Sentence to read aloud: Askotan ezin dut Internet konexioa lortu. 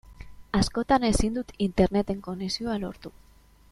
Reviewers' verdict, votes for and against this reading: rejected, 1, 2